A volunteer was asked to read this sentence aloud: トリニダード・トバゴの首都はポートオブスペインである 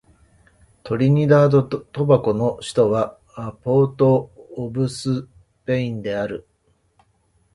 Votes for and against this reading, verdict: 1, 2, rejected